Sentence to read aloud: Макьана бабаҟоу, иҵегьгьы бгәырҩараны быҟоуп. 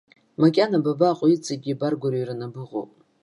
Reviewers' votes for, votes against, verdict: 0, 2, rejected